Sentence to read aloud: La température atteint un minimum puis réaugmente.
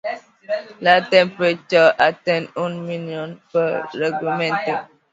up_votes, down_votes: 0, 2